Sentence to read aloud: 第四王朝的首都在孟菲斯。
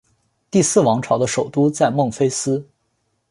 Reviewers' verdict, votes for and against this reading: accepted, 2, 0